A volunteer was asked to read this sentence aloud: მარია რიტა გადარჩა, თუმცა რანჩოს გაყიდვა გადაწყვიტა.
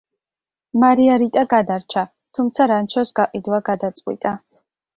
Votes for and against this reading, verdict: 2, 0, accepted